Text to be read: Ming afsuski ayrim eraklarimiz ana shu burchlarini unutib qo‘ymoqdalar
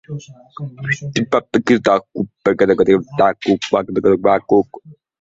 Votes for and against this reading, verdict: 0, 2, rejected